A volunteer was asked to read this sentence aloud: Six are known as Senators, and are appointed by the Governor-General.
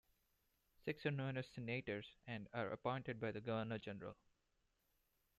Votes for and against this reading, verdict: 1, 2, rejected